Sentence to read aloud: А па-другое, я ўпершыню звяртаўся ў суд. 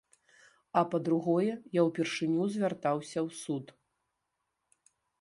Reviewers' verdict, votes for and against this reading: accepted, 2, 0